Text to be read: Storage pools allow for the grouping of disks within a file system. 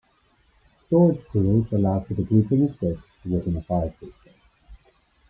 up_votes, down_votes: 2, 0